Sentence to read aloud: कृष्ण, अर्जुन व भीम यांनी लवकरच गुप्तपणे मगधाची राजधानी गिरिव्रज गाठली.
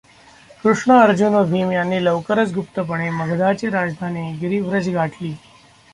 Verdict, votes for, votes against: accepted, 2, 0